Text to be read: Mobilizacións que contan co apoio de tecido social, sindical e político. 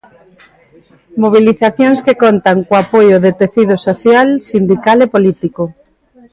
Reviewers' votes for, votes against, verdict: 0, 2, rejected